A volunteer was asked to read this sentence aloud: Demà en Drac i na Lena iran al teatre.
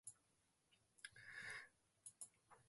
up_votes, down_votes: 0, 2